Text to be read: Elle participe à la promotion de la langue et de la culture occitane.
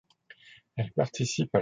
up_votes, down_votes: 0, 2